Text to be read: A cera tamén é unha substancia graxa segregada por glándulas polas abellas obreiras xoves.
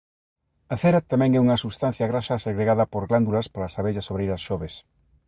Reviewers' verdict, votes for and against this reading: accepted, 3, 0